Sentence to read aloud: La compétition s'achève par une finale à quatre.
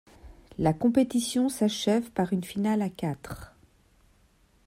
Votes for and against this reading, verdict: 2, 0, accepted